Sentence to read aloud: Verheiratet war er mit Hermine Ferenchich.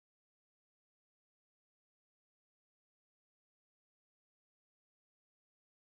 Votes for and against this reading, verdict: 0, 2, rejected